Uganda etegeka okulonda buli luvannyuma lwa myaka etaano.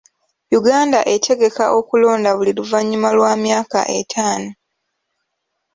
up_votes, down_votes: 1, 2